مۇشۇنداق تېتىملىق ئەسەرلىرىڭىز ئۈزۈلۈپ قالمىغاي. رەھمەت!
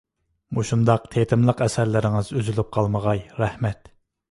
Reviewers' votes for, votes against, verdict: 2, 0, accepted